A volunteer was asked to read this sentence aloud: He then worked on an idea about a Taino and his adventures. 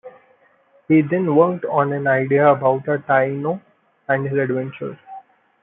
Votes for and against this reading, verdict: 2, 0, accepted